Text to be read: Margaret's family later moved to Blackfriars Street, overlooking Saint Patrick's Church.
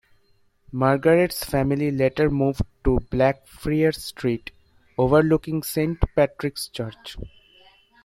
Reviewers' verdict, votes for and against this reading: rejected, 0, 2